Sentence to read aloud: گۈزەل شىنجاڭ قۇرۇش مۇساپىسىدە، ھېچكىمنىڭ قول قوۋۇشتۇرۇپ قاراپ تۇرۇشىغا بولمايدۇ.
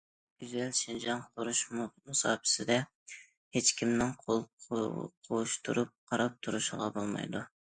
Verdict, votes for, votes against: rejected, 0, 2